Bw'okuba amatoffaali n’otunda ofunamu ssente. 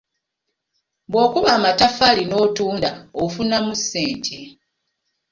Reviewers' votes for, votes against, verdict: 1, 2, rejected